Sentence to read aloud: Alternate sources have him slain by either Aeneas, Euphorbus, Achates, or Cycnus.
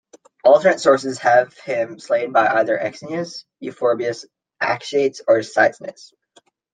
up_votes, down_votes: 1, 2